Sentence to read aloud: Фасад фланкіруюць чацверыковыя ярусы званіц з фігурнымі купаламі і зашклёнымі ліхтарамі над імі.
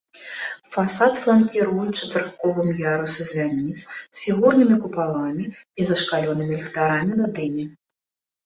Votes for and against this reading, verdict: 0, 2, rejected